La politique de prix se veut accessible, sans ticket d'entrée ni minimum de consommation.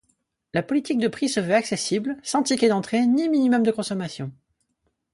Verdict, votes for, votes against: accepted, 4, 0